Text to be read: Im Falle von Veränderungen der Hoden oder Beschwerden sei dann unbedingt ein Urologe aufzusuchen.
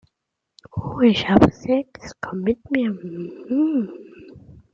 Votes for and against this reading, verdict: 0, 2, rejected